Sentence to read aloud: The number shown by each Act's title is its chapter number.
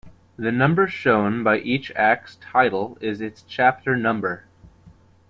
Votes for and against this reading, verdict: 3, 0, accepted